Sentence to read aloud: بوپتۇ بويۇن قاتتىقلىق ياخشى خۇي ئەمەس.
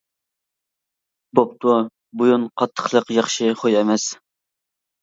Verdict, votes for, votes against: accepted, 2, 0